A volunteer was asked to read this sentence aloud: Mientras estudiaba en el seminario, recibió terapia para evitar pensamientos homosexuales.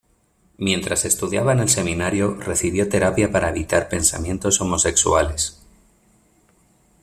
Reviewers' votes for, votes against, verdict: 2, 0, accepted